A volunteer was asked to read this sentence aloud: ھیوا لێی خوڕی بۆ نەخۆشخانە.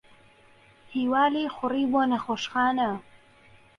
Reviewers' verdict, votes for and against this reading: accepted, 3, 0